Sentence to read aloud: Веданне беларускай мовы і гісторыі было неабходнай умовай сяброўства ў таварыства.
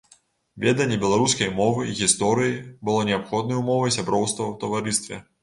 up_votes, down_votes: 0, 3